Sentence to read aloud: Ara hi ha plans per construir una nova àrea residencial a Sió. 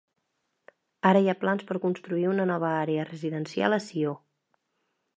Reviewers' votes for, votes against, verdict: 2, 0, accepted